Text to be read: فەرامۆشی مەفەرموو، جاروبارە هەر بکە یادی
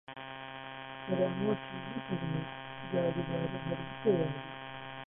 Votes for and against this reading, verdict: 0, 2, rejected